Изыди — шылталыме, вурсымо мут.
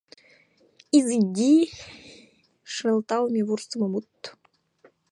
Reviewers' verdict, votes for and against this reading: accepted, 2, 0